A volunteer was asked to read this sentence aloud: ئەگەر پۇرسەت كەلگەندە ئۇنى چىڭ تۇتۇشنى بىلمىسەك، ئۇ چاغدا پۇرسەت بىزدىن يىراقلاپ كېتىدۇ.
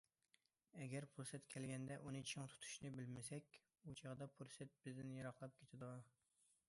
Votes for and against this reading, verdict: 2, 0, accepted